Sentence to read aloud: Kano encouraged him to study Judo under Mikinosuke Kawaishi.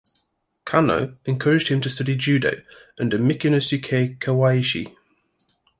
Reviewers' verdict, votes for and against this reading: accepted, 2, 0